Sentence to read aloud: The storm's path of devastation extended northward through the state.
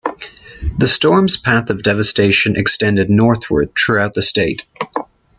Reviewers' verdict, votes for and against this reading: rejected, 1, 2